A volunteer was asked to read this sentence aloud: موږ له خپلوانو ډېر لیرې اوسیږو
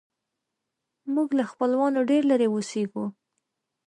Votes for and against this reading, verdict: 2, 0, accepted